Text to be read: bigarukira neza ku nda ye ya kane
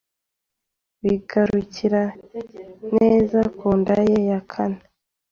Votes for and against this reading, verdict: 2, 0, accepted